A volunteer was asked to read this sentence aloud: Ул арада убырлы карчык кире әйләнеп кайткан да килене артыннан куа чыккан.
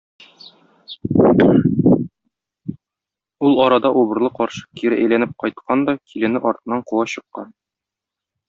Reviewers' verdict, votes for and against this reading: rejected, 0, 2